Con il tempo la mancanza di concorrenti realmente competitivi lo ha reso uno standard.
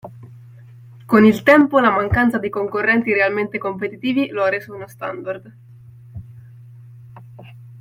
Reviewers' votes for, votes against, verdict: 2, 0, accepted